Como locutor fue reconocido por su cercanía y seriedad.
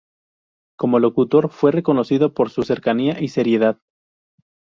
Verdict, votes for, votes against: accepted, 2, 0